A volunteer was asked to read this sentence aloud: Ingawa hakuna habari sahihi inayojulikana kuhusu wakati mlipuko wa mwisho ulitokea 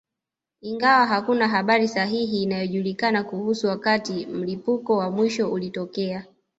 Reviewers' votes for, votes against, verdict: 1, 2, rejected